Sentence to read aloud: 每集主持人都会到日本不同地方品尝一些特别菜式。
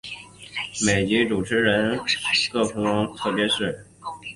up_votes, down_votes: 1, 3